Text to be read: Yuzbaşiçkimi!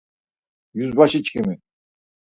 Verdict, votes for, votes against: accepted, 4, 0